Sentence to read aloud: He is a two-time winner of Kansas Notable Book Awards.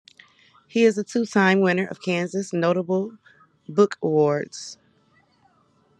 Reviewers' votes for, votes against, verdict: 2, 0, accepted